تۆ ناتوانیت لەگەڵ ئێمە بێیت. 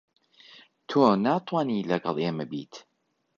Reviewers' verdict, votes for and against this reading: rejected, 1, 2